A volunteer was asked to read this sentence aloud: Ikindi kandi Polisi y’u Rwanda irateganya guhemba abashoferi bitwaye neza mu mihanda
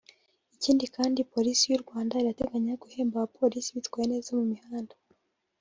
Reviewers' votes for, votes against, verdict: 0, 2, rejected